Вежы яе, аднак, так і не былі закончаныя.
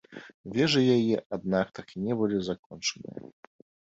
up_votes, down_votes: 2, 1